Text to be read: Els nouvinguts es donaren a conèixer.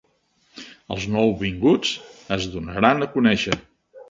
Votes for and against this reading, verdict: 1, 2, rejected